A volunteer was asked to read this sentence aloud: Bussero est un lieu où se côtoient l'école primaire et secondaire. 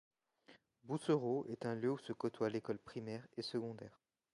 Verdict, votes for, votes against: accepted, 2, 1